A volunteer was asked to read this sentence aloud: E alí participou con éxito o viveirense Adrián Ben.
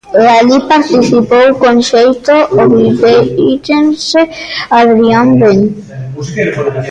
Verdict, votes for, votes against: rejected, 0, 2